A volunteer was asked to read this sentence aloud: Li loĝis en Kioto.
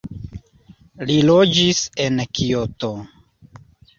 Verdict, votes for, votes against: accepted, 2, 0